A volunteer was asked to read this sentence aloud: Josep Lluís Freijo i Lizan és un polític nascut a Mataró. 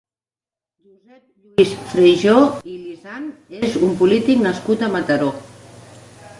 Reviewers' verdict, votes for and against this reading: rejected, 0, 2